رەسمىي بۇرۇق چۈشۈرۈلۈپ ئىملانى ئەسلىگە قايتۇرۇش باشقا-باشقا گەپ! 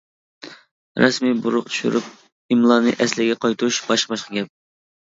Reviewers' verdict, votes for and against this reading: accepted, 2, 0